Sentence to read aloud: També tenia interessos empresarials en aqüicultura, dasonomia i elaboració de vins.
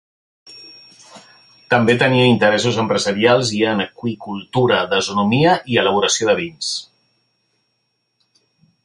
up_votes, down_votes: 0, 3